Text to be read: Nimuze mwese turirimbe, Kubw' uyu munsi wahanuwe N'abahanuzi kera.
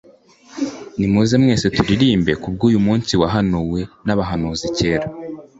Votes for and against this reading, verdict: 2, 0, accepted